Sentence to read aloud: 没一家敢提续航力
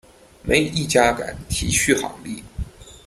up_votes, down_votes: 1, 2